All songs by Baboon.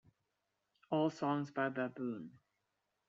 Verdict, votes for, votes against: accepted, 2, 0